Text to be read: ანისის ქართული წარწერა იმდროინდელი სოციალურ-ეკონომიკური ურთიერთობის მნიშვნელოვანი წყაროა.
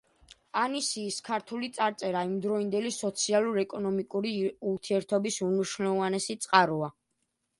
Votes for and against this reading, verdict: 1, 2, rejected